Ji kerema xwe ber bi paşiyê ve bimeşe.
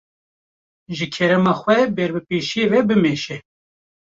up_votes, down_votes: 0, 2